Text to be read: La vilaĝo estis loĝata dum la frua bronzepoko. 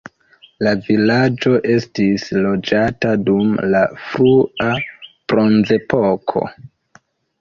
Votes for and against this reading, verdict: 1, 2, rejected